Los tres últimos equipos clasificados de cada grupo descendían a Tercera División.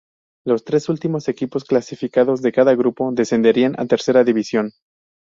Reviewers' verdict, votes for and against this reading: accepted, 2, 0